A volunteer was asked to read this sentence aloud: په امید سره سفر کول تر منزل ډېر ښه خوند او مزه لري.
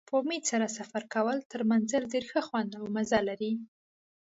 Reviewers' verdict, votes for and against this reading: accepted, 2, 0